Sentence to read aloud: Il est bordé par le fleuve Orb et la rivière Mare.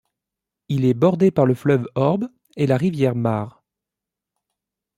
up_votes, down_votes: 2, 0